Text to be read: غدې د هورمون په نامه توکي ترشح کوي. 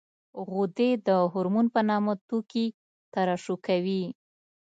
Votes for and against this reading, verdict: 2, 0, accepted